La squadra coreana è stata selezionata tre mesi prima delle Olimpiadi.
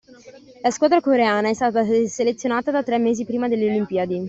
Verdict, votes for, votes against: rejected, 0, 2